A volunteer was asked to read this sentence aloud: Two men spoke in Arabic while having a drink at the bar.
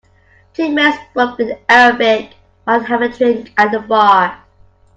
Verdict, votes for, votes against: rejected, 1, 2